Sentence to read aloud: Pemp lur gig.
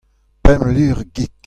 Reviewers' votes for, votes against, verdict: 2, 0, accepted